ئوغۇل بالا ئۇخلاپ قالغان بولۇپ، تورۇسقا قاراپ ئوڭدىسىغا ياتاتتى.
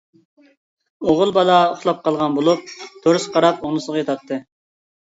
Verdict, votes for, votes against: rejected, 0, 2